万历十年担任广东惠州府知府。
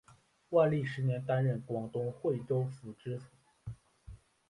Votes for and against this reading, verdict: 2, 1, accepted